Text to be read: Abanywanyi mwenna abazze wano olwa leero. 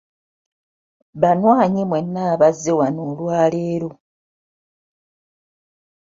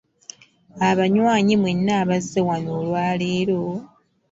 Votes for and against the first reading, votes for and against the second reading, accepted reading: 0, 2, 2, 0, second